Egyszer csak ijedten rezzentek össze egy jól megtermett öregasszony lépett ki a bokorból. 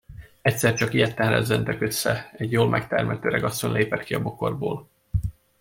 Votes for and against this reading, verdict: 0, 2, rejected